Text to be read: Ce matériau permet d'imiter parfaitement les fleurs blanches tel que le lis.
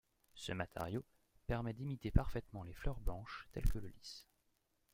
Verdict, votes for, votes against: accepted, 2, 0